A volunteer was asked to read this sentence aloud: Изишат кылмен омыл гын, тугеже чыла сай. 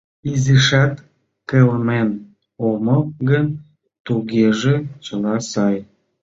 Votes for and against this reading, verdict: 2, 0, accepted